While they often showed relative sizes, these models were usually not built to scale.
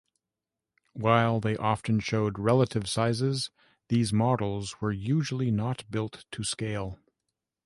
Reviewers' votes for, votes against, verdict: 2, 0, accepted